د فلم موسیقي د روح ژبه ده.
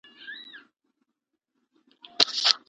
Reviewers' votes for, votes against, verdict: 0, 2, rejected